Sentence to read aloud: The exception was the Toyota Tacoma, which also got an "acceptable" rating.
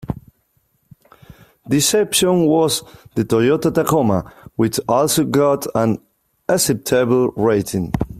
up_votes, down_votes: 2, 3